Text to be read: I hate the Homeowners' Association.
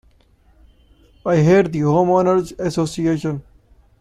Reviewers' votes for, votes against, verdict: 2, 0, accepted